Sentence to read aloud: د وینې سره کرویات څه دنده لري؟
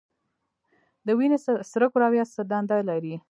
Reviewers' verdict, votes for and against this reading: rejected, 1, 2